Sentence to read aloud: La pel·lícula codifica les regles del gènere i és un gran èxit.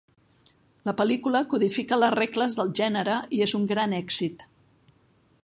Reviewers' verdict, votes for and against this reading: accepted, 3, 0